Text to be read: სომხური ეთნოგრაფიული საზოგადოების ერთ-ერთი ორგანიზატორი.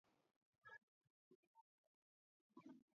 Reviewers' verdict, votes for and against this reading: rejected, 0, 3